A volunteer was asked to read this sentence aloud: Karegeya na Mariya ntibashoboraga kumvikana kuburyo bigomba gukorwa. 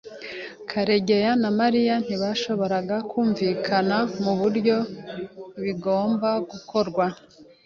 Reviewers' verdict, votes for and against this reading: accepted, 2, 0